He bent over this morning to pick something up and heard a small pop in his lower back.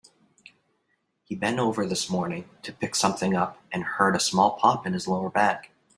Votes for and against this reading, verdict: 4, 0, accepted